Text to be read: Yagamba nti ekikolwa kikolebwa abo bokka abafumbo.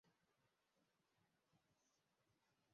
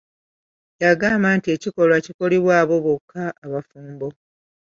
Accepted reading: second